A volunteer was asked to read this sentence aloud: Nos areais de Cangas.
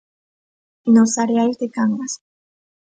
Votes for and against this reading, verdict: 3, 0, accepted